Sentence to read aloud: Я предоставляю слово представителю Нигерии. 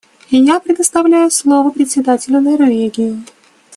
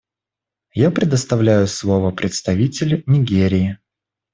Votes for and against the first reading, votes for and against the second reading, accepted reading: 1, 2, 2, 0, second